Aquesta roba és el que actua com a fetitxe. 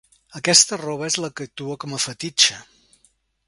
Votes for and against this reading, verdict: 1, 2, rejected